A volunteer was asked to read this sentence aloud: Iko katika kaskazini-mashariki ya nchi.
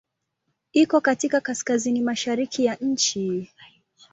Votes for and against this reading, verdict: 2, 0, accepted